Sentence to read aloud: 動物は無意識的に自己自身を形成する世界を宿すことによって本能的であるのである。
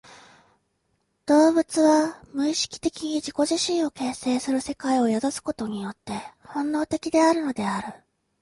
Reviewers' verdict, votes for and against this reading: accepted, 2, 0